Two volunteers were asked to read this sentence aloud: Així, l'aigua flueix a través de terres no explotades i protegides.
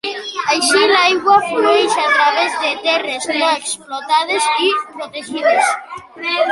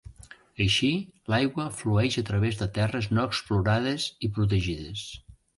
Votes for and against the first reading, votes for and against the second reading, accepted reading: 1, 2, 2, 1, second